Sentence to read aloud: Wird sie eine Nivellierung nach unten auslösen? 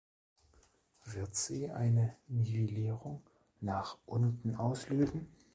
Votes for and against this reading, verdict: 2, 0, accepted